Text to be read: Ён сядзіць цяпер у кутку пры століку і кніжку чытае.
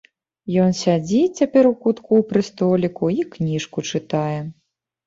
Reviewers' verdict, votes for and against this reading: accepted, 2, 0